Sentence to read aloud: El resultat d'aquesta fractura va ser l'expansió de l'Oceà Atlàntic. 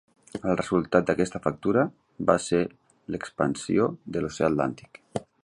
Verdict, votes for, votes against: rejected, 1, 2